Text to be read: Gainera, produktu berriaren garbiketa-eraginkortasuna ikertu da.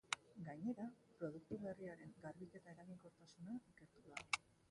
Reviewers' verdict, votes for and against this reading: rejected, 0, 5